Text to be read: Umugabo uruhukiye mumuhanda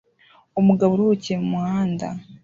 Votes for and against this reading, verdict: 2, 0, accepted